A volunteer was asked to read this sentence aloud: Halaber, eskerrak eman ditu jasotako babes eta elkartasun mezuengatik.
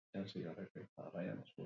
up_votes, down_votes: 4, 0